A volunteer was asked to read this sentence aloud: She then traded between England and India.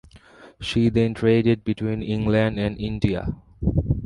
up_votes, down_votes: 2, 1